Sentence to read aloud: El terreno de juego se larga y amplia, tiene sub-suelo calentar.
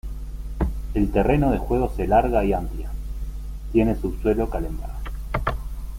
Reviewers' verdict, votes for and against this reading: accepted, 2, 1